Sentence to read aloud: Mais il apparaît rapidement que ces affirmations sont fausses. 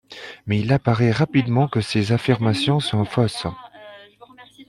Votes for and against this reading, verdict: 1, 2, rejected